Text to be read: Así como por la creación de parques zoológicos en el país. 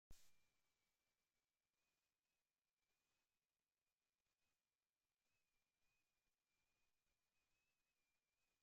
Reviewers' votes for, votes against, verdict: 0, 2, rejected